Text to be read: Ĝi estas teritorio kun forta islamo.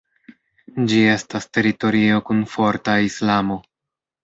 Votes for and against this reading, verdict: 0, 2, rejected